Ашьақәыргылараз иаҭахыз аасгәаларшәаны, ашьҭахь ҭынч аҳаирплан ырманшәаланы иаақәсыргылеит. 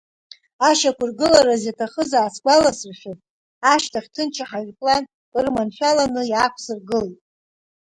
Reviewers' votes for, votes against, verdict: 0, 2, rejected